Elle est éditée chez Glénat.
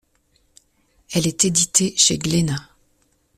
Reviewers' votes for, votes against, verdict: 2, 0, accepted